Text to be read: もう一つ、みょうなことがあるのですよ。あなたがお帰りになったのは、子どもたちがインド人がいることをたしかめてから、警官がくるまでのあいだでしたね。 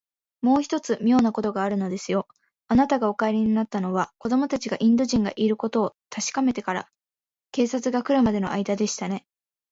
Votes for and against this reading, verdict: 0, 2, rejected